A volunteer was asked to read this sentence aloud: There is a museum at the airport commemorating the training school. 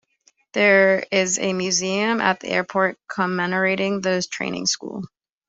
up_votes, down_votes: 2, 1